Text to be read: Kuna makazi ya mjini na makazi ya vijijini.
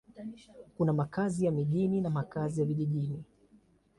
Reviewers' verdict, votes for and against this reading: accepted, 2, 0